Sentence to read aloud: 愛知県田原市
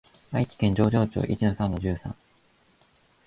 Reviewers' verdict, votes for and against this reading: rejected, 2, 17